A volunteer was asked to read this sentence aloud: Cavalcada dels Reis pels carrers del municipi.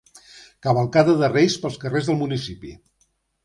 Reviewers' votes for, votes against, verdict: 2, 0, accepted